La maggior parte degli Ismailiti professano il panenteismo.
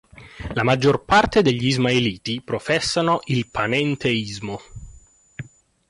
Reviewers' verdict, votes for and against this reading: accepted, 2, 0